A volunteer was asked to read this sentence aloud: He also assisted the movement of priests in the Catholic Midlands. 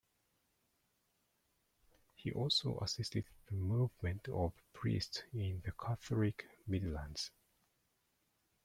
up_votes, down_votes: 0, 2